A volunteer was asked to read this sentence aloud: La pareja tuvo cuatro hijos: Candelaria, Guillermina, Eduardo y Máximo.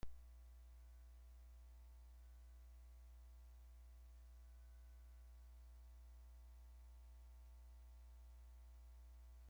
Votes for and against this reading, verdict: 0, 2, rejected